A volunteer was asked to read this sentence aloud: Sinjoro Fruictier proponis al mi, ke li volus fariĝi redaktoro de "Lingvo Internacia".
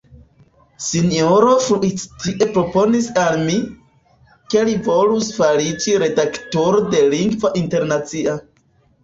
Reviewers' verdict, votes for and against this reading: rejected, 2, 3